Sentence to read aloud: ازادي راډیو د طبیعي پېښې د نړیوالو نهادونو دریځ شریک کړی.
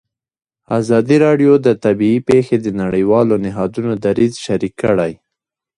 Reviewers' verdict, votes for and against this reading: rejected, 0, 2